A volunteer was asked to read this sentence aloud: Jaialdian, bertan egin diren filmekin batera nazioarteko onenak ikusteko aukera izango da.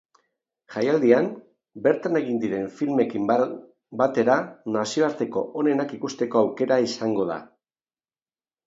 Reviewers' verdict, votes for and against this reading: rejected, 0, 3